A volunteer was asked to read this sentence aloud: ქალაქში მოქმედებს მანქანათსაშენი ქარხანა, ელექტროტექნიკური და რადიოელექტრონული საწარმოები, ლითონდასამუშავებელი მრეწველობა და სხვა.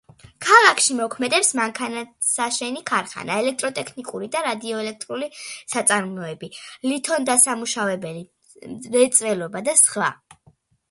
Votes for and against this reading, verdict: 2, 0, accepted